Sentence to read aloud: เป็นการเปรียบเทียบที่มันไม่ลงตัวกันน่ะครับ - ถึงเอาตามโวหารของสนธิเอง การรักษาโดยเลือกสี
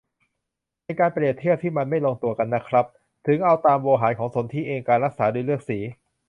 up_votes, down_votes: 2, 0